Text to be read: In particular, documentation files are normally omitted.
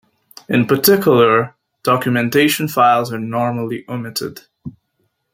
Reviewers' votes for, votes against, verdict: 2, 0, accepted